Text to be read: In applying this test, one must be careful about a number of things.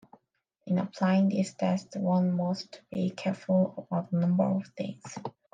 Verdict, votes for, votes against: accepted, 3, 1